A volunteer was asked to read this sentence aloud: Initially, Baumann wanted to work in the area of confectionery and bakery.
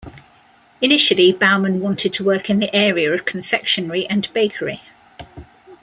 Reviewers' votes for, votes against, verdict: 2, 0, accepted